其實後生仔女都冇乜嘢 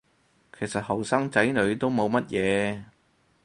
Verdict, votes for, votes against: accepted, 4, 0